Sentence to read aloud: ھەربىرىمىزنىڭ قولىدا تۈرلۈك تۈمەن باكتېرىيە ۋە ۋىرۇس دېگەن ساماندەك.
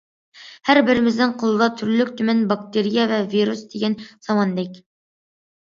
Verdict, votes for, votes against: accepted, 2, 0